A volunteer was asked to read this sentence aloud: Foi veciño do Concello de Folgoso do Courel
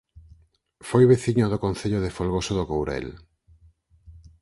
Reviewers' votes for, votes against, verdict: 4, 0, accepted